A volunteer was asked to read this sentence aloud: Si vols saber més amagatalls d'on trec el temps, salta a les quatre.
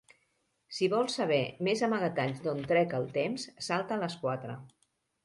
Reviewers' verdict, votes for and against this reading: accepted, 2, 0